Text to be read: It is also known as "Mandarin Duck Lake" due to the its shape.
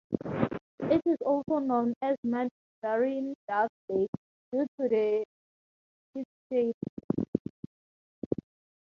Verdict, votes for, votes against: rejected, 0, 2